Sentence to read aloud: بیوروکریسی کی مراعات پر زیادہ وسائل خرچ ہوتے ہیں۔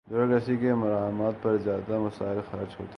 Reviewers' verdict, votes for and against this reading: rejected, 0, 2